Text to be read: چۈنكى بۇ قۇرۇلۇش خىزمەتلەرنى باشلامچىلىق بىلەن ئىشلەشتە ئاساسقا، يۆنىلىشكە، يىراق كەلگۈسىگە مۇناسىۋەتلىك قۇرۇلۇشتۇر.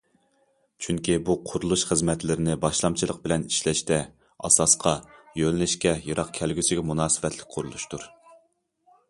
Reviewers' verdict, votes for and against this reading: rejected, 0, 2